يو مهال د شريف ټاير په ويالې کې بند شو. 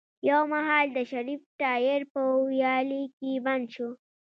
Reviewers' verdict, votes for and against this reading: rejected, 1, 2